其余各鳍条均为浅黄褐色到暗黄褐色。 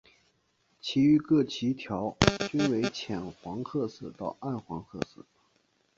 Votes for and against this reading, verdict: 0, 2, rejected